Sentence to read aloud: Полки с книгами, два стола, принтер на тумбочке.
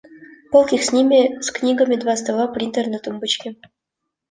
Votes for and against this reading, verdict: 1, 2, rejected